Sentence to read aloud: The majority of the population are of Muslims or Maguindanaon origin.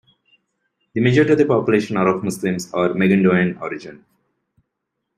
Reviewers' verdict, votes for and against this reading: rejected, 0, 2